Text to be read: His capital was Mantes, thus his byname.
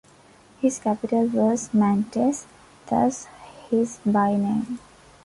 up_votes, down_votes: 2, 0